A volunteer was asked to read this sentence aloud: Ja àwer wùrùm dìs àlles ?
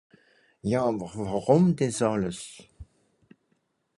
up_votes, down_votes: 4, 0